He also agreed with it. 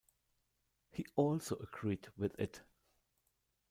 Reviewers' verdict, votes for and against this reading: rejected, 0, 2